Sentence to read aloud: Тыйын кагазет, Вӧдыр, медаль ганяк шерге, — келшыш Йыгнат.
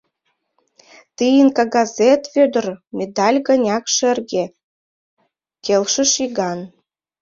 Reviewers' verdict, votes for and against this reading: rejected, 1, 2